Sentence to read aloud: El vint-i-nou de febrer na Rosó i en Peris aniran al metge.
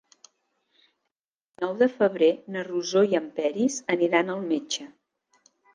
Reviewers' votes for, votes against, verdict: 1, 2, rejected